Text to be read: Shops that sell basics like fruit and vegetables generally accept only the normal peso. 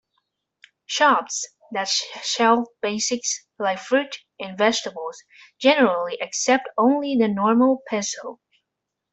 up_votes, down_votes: 2, 1